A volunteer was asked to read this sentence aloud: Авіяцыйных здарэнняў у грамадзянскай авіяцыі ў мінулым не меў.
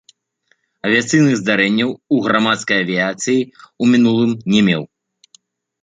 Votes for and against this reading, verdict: 0, 2, rejected